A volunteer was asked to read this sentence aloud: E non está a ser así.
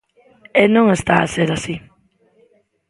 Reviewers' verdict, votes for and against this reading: rejected, 1, 2